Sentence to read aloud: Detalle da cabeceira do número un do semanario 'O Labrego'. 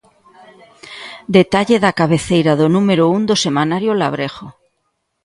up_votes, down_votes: 2, 0